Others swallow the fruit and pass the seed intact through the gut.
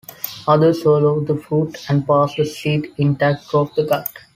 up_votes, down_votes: 1, 2